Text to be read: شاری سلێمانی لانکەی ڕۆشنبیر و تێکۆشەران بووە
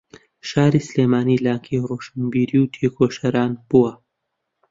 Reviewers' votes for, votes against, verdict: 0, 2, rejected